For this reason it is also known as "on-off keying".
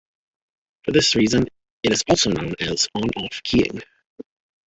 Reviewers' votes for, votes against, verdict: 2, 0, accepted